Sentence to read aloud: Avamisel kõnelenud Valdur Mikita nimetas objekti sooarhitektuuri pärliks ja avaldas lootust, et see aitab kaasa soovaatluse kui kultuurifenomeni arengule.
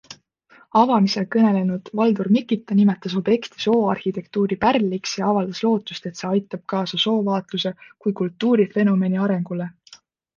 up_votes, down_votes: 2, 0